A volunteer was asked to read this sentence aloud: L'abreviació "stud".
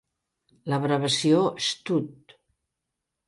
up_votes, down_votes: 0, 2